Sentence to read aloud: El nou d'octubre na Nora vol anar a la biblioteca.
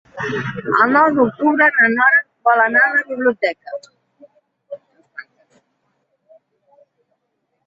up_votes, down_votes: 0, 2